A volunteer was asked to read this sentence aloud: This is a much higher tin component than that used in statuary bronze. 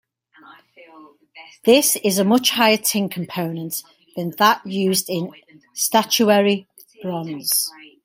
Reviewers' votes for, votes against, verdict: 1, 2, rejected